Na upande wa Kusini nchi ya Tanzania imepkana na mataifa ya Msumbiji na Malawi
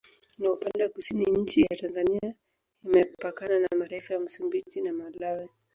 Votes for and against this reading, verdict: 0, 2, rejected